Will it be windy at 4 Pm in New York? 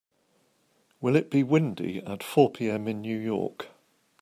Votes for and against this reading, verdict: 0, 2, rejected